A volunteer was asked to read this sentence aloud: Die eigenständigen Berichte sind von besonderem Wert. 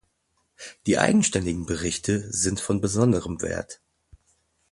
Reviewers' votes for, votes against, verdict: 2, 0, accepted